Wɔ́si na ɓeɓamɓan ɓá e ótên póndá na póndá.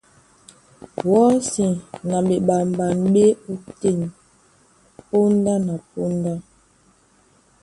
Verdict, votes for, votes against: accepted, 2, 0